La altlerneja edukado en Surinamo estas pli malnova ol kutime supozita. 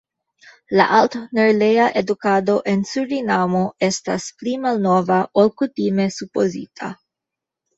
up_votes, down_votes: 1, 2